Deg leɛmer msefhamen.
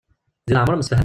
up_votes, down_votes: 0, 2